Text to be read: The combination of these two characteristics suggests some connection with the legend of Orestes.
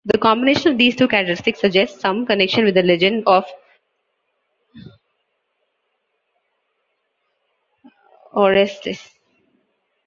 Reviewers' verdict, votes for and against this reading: rejected, 1, 2